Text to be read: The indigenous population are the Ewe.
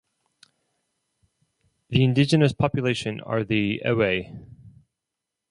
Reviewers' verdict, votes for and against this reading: rejected, 2, 2